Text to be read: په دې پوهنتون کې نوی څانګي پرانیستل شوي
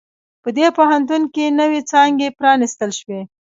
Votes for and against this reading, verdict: 1, 2, rejected